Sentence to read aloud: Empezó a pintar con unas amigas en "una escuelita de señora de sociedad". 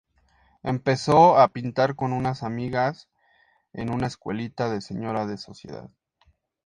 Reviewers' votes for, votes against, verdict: 4, 0, accepted